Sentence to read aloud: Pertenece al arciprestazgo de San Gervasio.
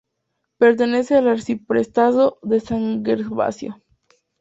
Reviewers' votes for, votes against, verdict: 2, 0, accepted